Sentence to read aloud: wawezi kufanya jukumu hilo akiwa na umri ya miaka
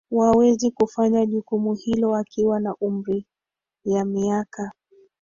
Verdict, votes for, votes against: accepted, 2, 1